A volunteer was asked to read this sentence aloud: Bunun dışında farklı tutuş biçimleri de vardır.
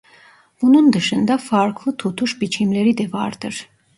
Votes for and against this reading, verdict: 2, 0, accepted